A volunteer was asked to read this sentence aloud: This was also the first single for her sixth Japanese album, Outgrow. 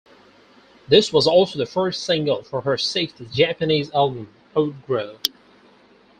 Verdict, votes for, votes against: accepted, 4, 0